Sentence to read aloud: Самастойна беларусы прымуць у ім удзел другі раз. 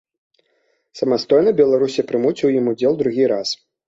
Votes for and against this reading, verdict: 1, 2, rejected